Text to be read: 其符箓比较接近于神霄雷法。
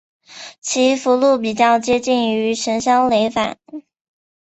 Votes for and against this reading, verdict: 2, 0, accepted